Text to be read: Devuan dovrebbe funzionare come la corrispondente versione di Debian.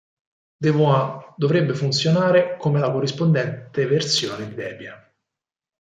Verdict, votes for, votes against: accepted, 4, 2